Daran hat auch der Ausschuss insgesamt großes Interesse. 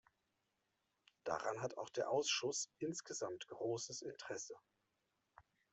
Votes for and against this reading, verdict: 1, 2, rejected